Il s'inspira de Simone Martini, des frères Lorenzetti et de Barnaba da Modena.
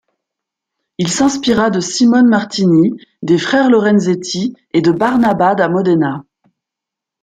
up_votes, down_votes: 2, 0